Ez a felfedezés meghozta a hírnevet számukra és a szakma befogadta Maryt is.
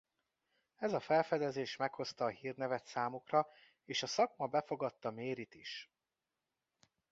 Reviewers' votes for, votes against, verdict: 2, 0, accepted